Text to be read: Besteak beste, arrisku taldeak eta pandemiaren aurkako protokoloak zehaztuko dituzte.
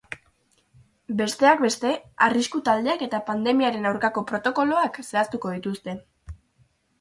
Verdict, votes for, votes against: accepted, 2, 0